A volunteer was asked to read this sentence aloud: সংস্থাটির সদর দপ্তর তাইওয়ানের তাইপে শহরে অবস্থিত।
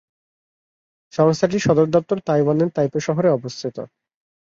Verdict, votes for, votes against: accepted, 66, 2